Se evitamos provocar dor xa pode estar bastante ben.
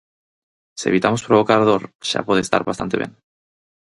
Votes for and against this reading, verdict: 4, 0, accepted